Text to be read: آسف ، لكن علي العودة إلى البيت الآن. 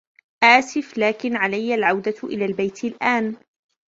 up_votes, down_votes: 2, 1